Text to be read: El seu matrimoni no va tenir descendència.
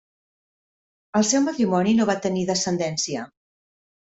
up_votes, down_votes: 3, 0